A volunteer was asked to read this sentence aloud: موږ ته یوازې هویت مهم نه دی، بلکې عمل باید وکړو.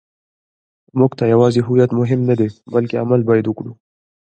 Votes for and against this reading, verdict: 1, 2, rejected